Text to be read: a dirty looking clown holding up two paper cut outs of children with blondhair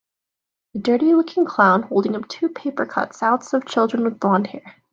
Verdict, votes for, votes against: accepted, 2, 1